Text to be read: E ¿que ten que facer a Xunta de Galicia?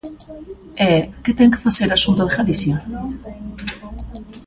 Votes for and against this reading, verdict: 2, 0, accepted